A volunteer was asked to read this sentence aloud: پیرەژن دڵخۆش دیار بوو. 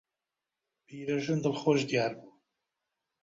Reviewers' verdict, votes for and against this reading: rejected, 1, 2